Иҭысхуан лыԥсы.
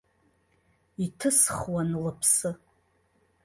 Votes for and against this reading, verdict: 2, 0, accepted